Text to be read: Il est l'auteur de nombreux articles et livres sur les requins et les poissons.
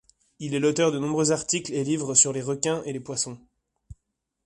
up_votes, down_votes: 2, 0